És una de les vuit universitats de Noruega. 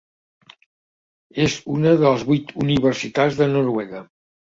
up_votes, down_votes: 2, 0